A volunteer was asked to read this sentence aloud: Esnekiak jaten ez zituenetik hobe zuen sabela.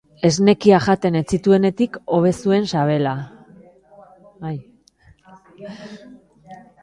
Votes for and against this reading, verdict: 5, 2, accepted